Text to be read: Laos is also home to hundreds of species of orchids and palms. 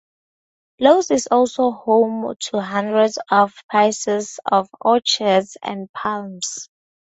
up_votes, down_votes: 0, 2